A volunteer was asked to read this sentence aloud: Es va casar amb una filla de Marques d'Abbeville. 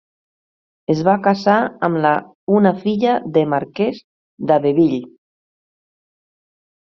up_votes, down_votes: 1, 2